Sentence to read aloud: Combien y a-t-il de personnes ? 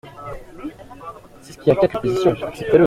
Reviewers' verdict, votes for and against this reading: rejected, 0, 2